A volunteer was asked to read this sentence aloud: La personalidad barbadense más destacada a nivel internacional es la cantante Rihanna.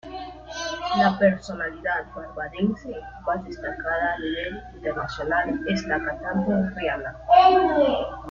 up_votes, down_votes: 1, 2